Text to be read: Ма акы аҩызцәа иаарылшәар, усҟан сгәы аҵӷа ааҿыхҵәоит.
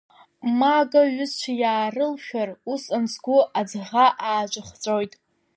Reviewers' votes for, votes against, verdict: 2, 1, accepted